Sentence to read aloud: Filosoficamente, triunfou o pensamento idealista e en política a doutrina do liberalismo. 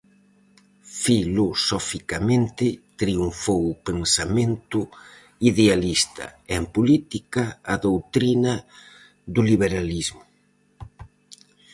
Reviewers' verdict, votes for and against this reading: rejected, 0, 4